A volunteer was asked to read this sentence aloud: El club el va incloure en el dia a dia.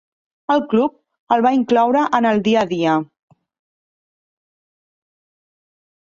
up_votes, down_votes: 4, 0